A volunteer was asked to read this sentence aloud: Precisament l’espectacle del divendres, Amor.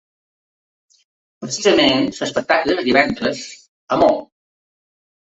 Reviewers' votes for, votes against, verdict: 1, 2, rejected